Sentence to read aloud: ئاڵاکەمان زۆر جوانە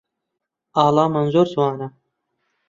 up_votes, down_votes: 1, 2